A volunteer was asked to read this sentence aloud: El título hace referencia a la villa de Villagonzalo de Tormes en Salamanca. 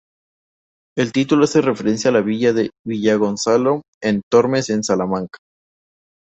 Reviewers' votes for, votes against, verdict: 0, 2, rejected